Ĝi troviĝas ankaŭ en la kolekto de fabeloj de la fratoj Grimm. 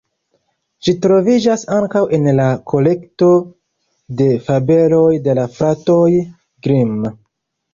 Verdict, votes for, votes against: rejected, 1, 2